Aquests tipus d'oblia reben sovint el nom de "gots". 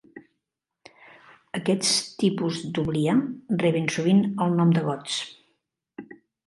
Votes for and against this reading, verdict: 0, 2, rejected